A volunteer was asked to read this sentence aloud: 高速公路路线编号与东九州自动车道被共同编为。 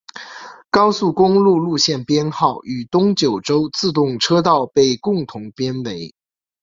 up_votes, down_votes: 2, 0